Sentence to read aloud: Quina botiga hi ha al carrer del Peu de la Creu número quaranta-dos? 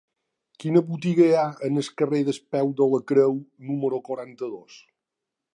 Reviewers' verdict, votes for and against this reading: rejected, 1, 2